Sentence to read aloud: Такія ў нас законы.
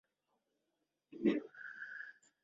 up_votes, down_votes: 0, 2